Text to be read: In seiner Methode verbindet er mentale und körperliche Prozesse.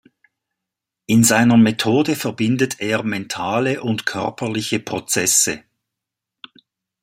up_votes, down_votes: 2, 0